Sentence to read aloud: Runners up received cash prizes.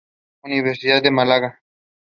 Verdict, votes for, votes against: rejected, 0, 2